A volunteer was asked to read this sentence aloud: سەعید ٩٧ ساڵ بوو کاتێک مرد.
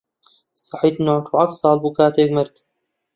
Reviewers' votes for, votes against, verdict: 0, 2, rejected